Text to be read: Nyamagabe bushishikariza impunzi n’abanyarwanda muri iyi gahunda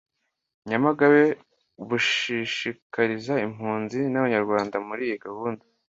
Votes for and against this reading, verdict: 2, 0, accepted